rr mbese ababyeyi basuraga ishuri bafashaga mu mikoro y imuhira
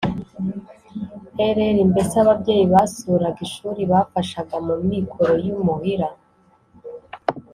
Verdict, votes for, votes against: accepted, 3, 0